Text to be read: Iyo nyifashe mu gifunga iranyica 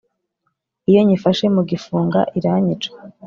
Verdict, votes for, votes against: accepted, 2, 0